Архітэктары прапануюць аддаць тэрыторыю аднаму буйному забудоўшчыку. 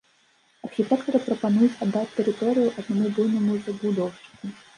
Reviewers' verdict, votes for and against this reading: rejected, 1, 2